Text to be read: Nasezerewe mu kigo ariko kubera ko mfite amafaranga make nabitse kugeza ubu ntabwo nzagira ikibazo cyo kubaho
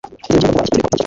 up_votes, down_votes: 1, 2